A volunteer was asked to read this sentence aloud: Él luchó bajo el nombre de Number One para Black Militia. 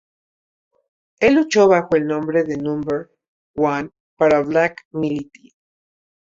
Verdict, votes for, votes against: rejected, 0, 2